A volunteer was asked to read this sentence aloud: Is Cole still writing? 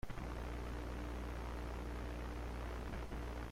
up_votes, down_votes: 0, 2